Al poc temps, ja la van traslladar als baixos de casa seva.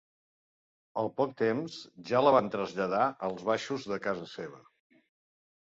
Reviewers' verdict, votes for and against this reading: accepted, 2, 0